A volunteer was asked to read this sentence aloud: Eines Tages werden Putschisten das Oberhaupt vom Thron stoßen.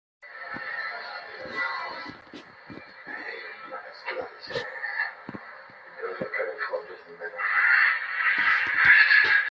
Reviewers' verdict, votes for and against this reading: rejected, 0, 2